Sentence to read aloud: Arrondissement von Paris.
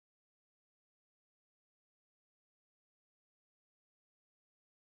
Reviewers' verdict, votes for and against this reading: rejected, 0, 2